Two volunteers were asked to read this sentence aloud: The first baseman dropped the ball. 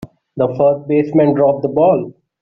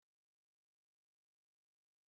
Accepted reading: first